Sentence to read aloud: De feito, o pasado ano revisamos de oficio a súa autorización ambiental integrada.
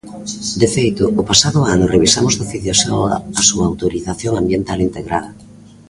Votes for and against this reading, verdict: 0, 2, rejected